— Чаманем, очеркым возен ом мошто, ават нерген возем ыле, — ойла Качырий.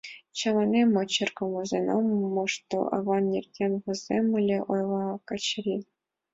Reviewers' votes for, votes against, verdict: 1, 2, rejected